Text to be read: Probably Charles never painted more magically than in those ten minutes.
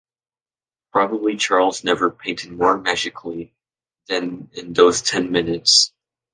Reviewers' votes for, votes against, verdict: 2, 1, accepted